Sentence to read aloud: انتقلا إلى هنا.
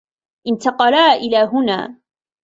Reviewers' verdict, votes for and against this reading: accepted, 2, 0